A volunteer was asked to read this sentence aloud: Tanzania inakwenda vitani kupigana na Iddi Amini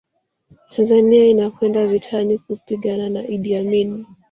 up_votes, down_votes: 2, 1